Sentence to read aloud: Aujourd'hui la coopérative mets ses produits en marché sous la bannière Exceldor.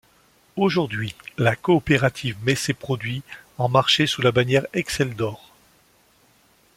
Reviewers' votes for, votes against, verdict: 2, 0, accepted